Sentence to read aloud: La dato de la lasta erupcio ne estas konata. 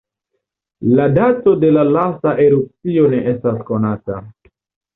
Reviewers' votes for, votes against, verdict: 2, 1, accepted